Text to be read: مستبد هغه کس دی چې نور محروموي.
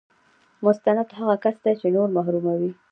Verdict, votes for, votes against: accepted, 2, 0